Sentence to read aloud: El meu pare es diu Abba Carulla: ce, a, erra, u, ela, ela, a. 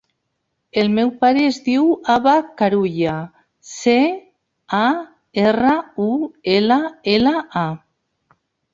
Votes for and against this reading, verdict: 3, 1, accepted